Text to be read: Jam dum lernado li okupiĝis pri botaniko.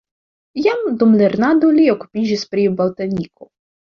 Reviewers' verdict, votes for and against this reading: accepted, 2, 0